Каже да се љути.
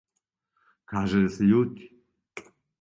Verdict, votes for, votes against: accepted, 2, 0